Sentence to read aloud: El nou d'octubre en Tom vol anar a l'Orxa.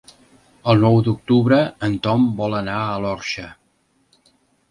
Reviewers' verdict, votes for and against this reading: accepted, 2, 0